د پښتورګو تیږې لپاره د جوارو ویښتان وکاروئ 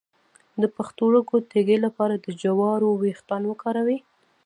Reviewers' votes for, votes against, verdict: 0, 2, rejected